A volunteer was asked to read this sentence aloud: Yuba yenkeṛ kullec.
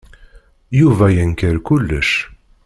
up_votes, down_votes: 0, 2